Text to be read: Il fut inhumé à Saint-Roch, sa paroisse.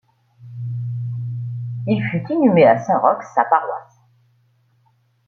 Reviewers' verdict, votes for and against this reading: accepted, 2, 0